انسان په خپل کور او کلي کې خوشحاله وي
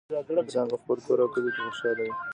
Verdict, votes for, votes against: accepted, 2, 1